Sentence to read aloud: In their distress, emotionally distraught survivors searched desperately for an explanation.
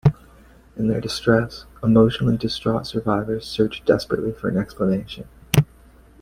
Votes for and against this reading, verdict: 2, 0, accepted